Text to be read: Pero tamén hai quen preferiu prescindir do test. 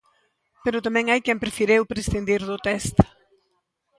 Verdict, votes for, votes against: rejected, 0, 2